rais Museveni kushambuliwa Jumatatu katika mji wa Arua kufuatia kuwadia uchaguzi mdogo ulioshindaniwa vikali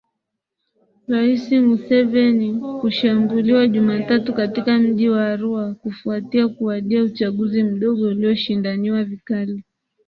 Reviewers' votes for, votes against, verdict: 3, 0, accepted